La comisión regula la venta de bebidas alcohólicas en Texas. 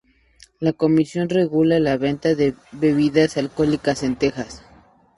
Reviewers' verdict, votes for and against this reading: accepted, 2, 0